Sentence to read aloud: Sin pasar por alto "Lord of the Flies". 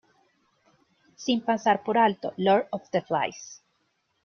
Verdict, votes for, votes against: accepted, 2, 1